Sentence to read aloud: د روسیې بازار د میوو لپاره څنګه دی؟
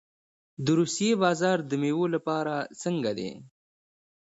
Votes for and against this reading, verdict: 2, 0, accepted